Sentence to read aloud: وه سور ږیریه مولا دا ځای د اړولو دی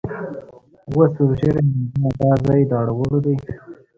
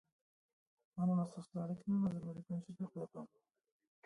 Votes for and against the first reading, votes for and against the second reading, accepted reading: 2, 0, 0, 2, first